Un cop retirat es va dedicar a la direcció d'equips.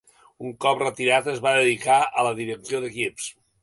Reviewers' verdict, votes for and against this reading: accepted, 2, 0